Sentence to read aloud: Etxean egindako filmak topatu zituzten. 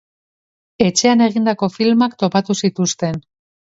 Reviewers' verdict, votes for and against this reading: accepted, 2, 0